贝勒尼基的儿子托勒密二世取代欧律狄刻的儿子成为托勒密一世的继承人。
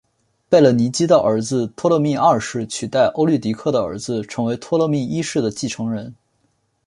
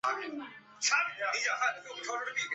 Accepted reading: first